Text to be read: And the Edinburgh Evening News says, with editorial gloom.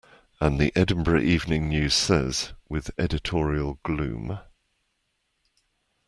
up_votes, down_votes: 2, 0